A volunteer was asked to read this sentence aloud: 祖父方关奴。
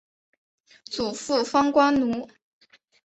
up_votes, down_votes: 2, 1